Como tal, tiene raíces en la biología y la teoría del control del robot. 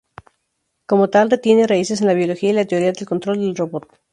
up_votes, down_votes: 0, 2